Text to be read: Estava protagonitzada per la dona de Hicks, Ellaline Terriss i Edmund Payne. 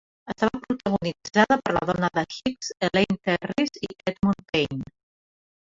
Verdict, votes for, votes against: rejected, 0, 2